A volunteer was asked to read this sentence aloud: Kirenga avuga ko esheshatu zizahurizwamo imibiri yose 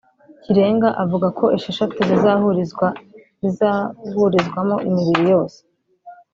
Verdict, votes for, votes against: rejected, 0, 2